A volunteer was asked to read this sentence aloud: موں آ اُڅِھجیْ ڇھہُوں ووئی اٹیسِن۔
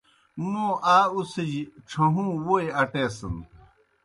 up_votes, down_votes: 2, 0